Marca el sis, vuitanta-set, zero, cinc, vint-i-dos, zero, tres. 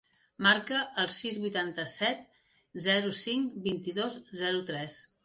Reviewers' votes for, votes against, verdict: 3, 0, accepted